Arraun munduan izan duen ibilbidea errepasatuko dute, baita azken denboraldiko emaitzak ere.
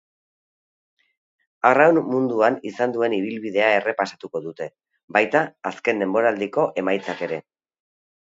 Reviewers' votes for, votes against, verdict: 3, 0, accepted